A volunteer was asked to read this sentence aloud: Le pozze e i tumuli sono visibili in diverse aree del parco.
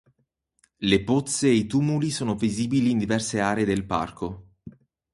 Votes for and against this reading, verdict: 4, 0, accepted